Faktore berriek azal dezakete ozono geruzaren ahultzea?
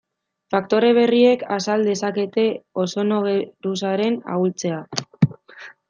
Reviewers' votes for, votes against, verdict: 0, 2, rejected